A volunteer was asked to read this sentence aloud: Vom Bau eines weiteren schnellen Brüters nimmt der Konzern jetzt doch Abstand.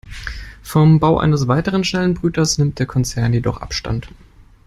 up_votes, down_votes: 0, 2